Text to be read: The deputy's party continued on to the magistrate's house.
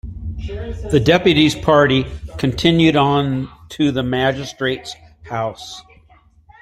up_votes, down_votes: 2, 0